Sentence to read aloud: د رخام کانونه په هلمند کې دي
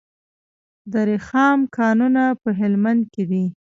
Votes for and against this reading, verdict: 1, 2, rejected